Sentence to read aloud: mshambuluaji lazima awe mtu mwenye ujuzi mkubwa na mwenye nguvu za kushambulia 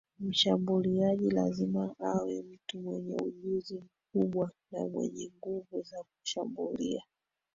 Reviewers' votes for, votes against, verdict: 1, 2, rejected